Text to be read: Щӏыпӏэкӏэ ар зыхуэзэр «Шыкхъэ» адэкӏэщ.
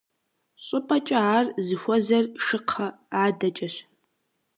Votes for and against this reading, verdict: 2, 0, accepted